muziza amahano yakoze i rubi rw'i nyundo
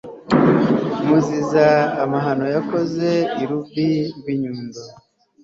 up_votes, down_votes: 2, 0